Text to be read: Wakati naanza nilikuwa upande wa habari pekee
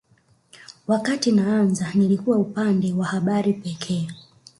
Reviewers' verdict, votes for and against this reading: rejected, 1, 2